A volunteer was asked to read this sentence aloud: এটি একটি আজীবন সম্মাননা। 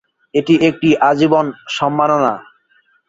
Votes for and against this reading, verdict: 6, 2, accepted